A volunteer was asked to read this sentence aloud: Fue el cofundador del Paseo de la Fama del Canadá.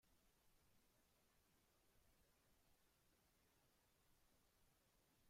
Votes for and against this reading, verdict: 0, 2, rejected